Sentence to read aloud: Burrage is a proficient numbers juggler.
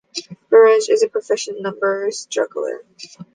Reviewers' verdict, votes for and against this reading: accepted, 2, 0